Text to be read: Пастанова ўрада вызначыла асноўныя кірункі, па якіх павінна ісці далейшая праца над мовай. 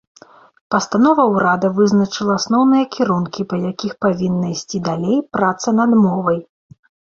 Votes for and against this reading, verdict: 0, 2, rejected